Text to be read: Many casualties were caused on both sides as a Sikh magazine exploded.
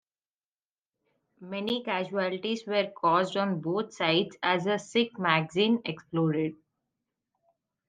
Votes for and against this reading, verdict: 2, 0, accepted